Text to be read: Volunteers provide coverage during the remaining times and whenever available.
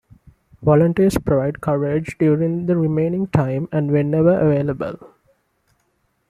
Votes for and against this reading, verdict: 2, 1, accepted